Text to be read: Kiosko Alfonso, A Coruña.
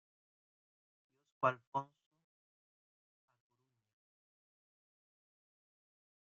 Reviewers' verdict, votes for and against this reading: rejected, 0, 2